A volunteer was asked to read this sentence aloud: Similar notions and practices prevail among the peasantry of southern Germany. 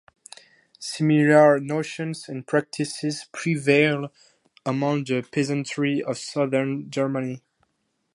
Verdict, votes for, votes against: rejected, 2, 2